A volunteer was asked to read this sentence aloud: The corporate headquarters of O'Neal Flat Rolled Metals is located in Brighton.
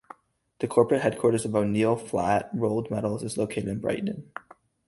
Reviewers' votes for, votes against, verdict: 4, 0, accepted